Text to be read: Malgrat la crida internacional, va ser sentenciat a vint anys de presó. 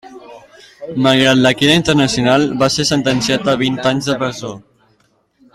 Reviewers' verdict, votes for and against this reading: accepted, 2, 0